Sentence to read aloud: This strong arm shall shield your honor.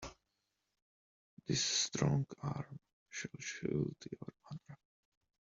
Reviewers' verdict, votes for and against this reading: rejected, 0, 2